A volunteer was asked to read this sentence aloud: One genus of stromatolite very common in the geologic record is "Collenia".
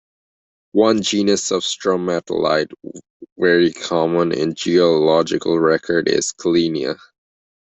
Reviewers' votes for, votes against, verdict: 1, 2, rejected